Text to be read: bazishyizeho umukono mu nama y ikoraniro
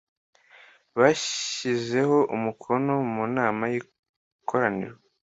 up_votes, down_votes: 2, 1